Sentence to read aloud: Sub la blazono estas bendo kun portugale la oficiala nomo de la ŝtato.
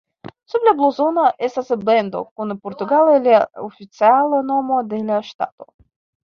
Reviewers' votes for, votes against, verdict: 0, 2, rejected